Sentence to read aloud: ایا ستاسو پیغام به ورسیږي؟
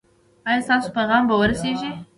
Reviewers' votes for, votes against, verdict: 1, 2, rejected